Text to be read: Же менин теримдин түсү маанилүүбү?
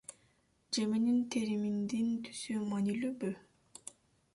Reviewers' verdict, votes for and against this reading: rejected, 0, 2